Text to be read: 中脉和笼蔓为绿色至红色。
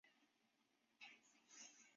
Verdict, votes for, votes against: rejected, 0, 3